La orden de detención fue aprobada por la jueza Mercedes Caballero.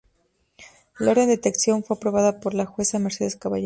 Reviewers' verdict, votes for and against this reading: rejected, 0, 2